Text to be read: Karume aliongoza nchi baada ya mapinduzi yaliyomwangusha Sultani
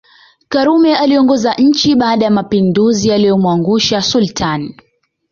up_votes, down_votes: 2, 0